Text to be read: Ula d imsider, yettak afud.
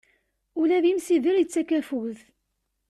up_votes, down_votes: 2, 0